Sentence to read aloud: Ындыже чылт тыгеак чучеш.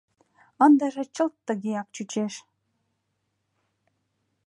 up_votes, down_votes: 2, 0